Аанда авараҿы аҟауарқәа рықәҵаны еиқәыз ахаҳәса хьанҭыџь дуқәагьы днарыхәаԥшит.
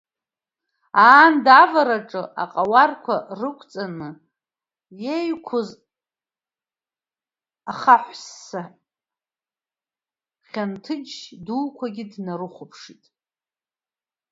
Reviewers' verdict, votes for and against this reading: rejected, 0, 2